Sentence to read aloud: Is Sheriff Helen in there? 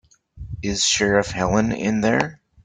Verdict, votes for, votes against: accepted, 4, 0